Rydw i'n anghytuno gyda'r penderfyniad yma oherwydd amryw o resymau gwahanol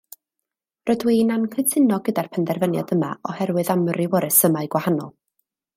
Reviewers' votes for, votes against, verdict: 2, 0, accepted